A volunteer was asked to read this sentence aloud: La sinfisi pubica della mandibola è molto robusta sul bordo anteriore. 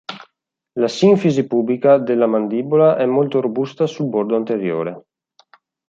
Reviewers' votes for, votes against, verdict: 3, 0, accepted